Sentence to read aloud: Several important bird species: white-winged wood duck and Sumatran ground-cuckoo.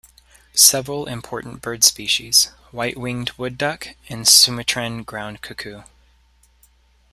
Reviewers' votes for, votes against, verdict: 1, 2, rejected